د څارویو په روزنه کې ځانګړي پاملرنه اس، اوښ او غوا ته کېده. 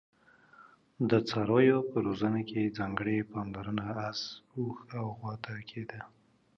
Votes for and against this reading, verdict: 2, 0, accepted